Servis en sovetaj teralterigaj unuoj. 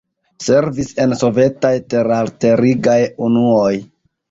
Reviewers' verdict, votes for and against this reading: rejected, 0, 2